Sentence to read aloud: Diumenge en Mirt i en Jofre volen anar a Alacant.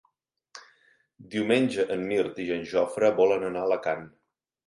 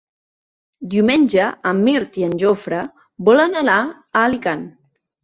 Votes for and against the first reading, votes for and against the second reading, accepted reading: 3, 0, 0, 3, first